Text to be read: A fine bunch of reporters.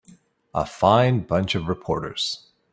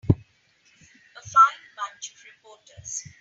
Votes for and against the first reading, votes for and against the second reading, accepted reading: 3, 0, 0, 2, first